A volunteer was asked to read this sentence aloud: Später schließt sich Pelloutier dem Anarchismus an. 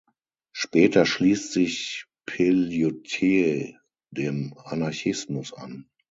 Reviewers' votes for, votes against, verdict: 0, 6, rejected